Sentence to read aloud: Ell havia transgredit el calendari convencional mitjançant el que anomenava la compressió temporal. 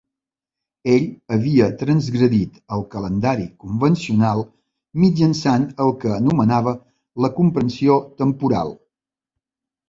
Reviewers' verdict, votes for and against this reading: rejected, 1, 2